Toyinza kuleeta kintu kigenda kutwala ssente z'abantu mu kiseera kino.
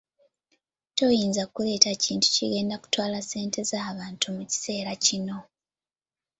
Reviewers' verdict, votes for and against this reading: accepted, 2, 0